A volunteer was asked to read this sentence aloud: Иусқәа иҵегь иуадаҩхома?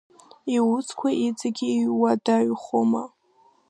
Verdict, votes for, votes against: rejected, 1, 2